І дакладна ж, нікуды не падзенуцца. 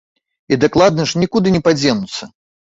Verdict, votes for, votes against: accepted, 3, 0